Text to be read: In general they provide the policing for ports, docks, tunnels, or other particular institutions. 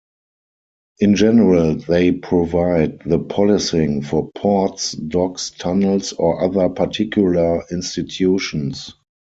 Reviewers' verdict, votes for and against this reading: rejected, 0, 4